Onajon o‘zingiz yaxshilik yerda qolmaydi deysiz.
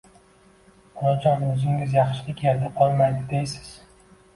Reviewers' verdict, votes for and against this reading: accepted, 2, 0